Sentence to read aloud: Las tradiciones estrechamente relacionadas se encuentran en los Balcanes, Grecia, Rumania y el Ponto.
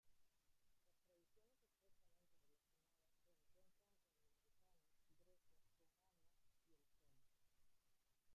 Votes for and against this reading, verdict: 0, 2, rejected